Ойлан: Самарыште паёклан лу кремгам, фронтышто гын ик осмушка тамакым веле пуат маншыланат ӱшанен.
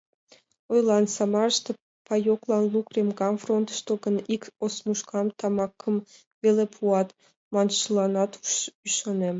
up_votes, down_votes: 2, 1